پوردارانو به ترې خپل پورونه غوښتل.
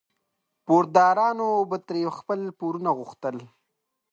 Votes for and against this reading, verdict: 2, 0, accepted